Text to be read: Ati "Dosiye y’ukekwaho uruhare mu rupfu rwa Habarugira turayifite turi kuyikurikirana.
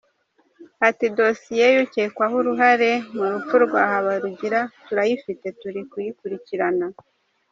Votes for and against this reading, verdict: 2, 0, accepted